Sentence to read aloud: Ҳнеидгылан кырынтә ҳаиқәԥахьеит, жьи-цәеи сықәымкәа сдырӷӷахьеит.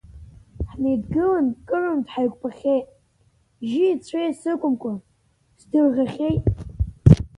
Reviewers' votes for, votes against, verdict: 2, 4, rejected